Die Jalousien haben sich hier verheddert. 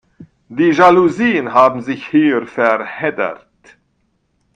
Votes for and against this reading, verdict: 0, 2, rejected